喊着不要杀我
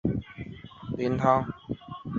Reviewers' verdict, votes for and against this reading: rejected, 0, 4